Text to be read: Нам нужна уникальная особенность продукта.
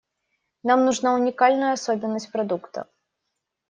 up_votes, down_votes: 2, 0